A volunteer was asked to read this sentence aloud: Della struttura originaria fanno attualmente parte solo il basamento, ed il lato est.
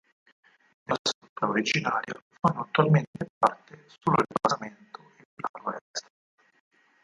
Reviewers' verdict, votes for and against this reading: rejected, 2, 4